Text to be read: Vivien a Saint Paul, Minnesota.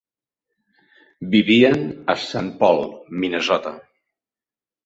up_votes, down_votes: 2, 0